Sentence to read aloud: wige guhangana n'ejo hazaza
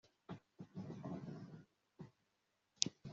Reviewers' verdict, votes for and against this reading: rejected, 1, 2